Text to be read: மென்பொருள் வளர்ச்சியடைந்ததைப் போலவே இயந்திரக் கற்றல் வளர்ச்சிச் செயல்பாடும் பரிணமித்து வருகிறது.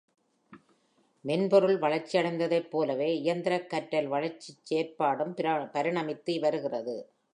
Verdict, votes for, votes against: rejected, 1, 2